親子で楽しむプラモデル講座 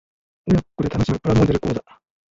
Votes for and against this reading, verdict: 0, 2, rejected